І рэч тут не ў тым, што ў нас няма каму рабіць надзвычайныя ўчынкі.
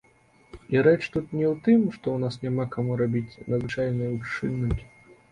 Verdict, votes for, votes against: rejected, 0, 2